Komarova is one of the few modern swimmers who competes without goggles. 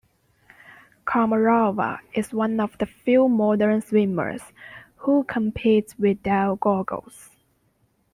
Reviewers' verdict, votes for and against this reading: rejected, 1, 2